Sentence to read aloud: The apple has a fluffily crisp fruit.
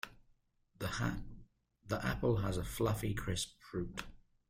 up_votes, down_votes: 0, 2